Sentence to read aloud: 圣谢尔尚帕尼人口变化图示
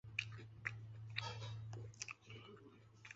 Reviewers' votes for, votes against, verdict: 0, 2, rejected